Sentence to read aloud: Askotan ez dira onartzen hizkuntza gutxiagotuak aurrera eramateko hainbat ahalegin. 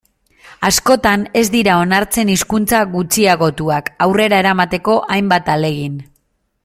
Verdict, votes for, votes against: accepted, 2, 0